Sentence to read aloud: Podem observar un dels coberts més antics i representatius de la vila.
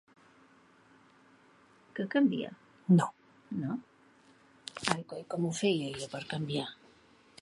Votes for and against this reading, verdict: 0, 2, rejected